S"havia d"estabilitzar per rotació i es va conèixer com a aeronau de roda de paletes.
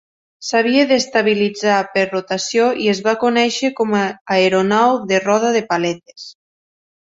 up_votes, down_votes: 2, 1